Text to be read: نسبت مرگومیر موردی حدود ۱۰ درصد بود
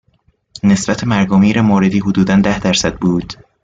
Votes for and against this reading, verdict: 0, 2, rejected